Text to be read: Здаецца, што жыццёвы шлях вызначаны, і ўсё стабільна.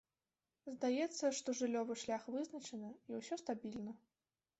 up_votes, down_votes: 1, 3